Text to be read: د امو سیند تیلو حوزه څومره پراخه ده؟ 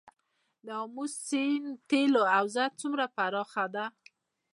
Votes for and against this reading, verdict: 2, 0, accepted